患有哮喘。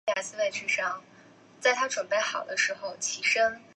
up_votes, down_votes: 0, 3